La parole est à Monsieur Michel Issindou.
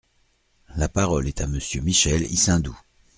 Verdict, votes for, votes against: accepted, 2, 0